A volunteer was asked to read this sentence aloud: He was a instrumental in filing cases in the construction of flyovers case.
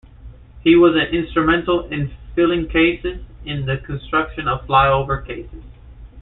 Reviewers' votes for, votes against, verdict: 0, 2, rejected